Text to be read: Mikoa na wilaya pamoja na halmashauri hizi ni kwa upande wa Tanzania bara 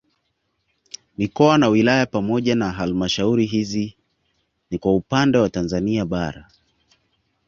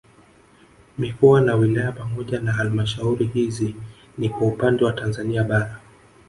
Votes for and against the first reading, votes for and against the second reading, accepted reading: 2, 0, 1, 2, first